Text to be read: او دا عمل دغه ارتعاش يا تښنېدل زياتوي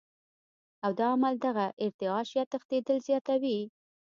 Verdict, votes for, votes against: accepted, 2, 0